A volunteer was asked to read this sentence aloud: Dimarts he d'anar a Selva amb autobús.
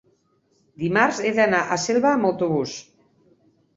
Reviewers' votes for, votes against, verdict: 3, 1, accepted